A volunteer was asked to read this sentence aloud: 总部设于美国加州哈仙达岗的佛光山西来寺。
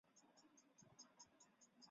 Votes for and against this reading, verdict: 2, 7, rejected